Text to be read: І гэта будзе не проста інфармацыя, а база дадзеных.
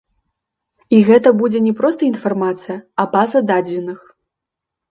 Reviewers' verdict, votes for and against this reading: accepted, 3, 1